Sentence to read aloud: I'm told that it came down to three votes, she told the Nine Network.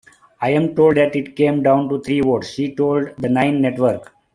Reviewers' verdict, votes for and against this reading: accepted, 2, 0